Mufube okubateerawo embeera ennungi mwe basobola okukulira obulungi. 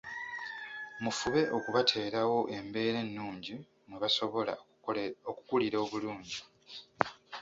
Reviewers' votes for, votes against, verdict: 1, 2, rejected